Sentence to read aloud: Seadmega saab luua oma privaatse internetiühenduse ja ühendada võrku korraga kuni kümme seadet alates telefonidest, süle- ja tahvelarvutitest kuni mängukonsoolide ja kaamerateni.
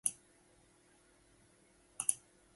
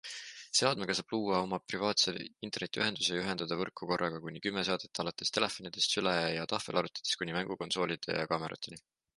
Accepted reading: second